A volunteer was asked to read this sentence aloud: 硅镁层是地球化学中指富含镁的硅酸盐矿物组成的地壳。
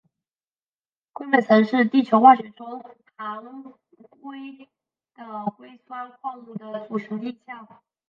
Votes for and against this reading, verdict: 0, 5, rejected